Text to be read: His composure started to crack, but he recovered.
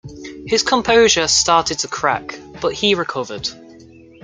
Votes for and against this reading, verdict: 2, 0, accepted